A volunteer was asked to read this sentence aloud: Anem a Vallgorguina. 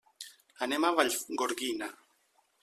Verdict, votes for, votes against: rejected, 0, 2